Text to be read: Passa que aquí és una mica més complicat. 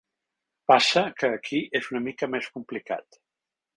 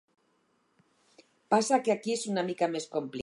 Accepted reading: first